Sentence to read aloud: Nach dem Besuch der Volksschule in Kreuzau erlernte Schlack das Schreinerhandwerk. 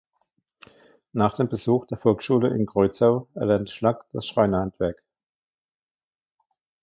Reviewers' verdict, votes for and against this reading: rejected, 1, 2